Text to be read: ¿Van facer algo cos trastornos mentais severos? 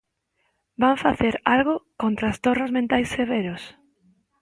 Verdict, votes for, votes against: rejected, 1, 2